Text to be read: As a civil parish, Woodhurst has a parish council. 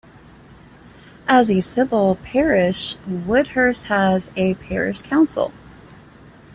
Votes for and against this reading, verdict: 2, 0, accepted